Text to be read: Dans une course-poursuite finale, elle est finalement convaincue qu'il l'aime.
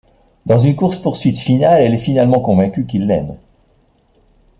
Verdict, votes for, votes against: accepted, 2, 0